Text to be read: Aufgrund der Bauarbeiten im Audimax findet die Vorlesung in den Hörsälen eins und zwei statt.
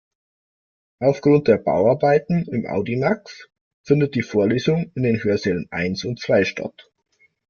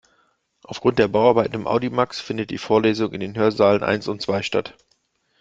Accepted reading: first